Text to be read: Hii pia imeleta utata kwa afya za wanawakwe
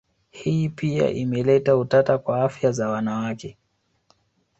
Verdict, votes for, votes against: accepted, 3, 0